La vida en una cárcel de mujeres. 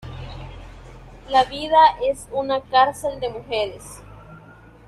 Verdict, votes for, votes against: rejected, 0, 2